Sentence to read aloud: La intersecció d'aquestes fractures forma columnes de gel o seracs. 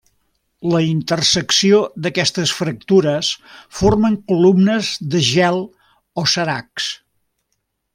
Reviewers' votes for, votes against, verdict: 1, 2, rejected